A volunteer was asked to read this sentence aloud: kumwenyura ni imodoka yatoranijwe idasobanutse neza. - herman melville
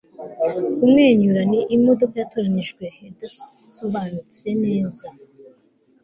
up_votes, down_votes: 1, 2